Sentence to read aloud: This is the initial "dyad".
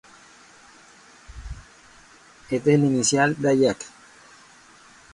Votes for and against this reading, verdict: 0, 2, rejected